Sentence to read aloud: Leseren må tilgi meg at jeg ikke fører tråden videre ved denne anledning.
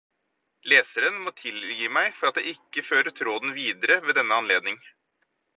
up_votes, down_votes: 2, 2